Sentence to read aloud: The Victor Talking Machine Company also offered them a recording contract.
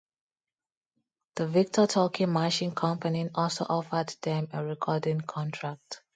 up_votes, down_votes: 2, 0